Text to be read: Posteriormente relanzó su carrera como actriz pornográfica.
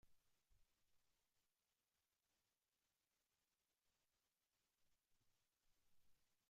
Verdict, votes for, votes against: rejected, 0, 2